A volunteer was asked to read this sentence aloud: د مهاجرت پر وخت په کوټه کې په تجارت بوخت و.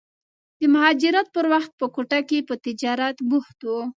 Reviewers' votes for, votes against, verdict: 2, 0, accepted